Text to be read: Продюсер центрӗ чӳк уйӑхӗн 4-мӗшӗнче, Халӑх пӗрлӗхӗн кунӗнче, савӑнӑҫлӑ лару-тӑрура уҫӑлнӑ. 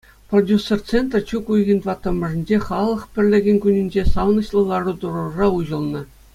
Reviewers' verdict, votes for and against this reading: rejected, 0, 2